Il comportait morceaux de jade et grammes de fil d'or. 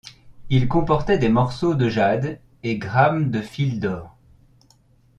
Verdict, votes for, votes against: rejected, 1, 2